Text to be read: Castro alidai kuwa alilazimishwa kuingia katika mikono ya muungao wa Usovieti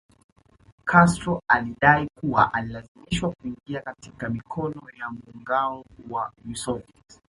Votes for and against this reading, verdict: 2, 0, accepted